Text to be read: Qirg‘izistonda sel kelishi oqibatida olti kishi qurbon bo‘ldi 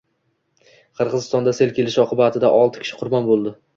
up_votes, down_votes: 2, 0